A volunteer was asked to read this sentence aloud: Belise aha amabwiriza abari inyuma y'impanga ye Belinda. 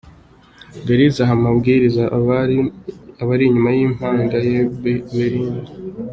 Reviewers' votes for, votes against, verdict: 0, 2, rejected